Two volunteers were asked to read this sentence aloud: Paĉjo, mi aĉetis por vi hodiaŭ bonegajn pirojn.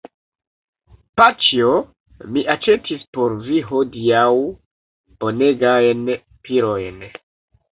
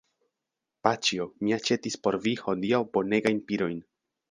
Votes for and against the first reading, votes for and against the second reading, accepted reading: 1, 2, 2, 1, second